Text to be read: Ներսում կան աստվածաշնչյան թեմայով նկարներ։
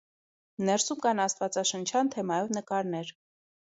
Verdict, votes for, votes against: accepted, 2, 0